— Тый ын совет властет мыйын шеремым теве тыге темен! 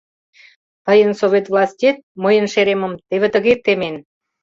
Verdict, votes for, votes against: rejected, 1, 2